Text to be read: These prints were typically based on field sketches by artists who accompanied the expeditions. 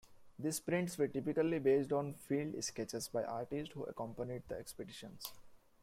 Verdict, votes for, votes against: rejected, 0, 2